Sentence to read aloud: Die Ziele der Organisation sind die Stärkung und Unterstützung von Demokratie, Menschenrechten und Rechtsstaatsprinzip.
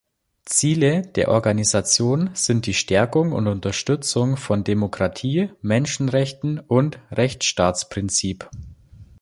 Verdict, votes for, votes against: rejected, 1, 2